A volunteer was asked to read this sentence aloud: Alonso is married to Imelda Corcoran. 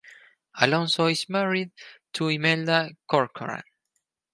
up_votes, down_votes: 4, 0